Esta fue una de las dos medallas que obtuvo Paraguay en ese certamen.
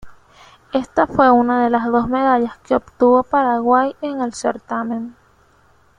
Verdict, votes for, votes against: rejected, 0, 2